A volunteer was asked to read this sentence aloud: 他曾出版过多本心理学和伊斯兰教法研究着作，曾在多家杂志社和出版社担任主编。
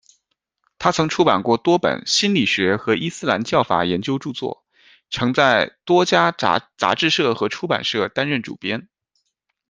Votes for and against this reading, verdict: 1, 2, rejected